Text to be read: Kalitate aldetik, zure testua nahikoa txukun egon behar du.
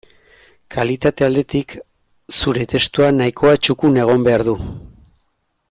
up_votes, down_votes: 2, 0